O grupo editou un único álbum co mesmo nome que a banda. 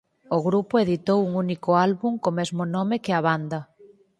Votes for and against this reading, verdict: 4, 0, accepted